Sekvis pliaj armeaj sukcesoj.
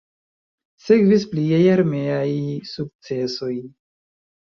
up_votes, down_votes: 0, 2